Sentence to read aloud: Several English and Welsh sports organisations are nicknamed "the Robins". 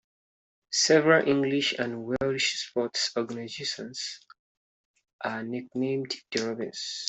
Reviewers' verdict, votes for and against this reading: rejected, 0, 2